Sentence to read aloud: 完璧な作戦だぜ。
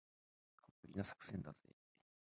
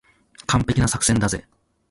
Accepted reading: second